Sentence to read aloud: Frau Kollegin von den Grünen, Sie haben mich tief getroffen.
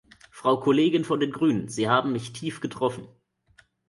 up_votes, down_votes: 2, 0